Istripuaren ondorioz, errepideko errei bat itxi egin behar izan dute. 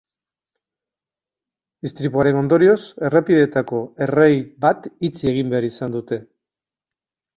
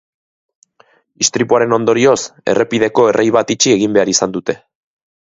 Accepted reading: second